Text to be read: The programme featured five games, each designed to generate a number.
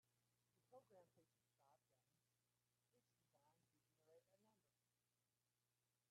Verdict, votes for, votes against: rejected, 0, 2